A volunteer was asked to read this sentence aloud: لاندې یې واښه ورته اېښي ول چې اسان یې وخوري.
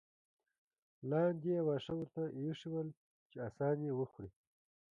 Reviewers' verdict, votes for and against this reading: rejected, 0, 2